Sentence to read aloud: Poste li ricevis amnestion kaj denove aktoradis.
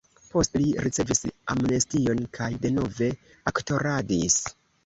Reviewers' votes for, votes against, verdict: 0, 2, rejected